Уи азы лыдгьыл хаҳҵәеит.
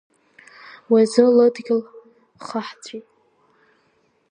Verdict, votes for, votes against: rejected, 0, 2